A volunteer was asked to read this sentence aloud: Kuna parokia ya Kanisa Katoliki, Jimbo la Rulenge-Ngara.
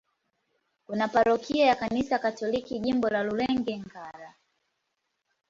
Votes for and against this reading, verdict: 2, 0, accepted